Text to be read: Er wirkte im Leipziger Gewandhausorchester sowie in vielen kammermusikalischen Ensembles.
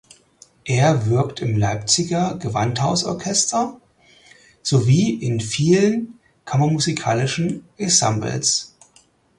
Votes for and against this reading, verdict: 0, 4, rejected